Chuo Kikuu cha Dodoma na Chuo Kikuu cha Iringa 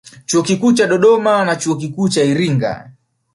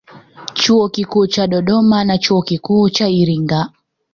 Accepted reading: second